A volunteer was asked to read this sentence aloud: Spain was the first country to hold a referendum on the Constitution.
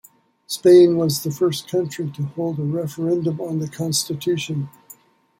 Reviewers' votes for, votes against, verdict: 1, 2, rejected